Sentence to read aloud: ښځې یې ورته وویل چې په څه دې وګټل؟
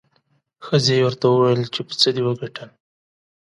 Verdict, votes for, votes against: accepted, 2, 0